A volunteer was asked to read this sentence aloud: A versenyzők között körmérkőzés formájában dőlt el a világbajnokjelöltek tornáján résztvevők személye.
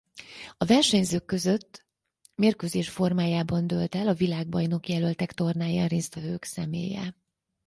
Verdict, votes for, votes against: rejected, 0, 4